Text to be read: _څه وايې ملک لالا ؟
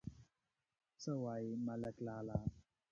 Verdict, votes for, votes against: rejected, 1, 2